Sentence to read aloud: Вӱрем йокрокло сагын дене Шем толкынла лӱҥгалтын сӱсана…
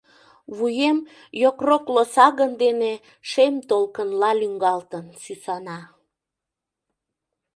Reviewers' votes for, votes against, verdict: 1, 2, rejected